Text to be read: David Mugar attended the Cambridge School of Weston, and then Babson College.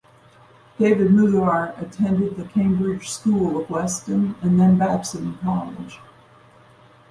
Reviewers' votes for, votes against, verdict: 2, 0, accepted